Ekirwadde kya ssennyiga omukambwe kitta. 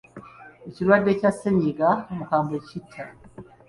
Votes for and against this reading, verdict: 0, 2, rejected